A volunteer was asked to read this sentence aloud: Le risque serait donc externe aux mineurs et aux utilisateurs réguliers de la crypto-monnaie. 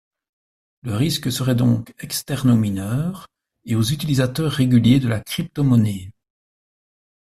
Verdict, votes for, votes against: accepted, 2, 0